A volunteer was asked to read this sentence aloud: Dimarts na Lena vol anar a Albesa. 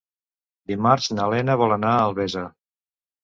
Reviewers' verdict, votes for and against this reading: accepted, 2, 1